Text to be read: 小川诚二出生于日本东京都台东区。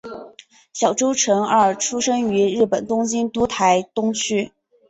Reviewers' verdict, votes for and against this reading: accepted, 2, 0